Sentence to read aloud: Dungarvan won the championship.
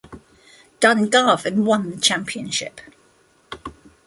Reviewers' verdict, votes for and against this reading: rejected, 1, 2